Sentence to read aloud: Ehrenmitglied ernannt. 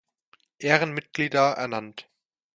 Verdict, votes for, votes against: rejected, 0, 2